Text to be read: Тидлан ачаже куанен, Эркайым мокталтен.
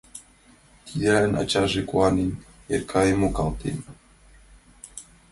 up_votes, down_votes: 1, 2